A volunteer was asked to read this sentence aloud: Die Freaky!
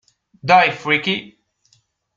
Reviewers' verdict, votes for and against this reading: rejected, 1, 2